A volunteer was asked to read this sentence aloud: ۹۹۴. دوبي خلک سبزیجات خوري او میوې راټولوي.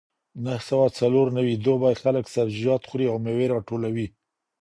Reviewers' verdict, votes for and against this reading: rejected, 0, 2